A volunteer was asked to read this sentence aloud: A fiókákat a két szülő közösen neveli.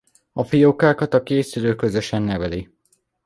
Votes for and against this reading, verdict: 2, 0, accepted